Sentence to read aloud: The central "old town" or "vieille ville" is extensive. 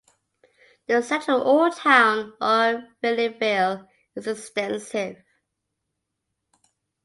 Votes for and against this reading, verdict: 2, 0, accepted